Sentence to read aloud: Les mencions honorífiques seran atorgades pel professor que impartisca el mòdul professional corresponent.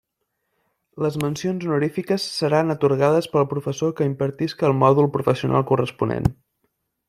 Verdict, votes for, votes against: accepted, 2, 0